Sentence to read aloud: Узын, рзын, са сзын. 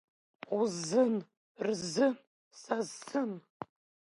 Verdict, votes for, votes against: rejected, 1, 2